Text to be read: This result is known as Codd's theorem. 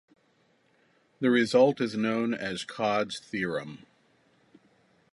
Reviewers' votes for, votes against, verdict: 2, 0, accepted